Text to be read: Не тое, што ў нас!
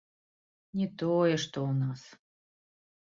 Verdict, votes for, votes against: accepted, 2, 0